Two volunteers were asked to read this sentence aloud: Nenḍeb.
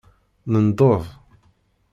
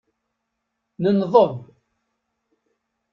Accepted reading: second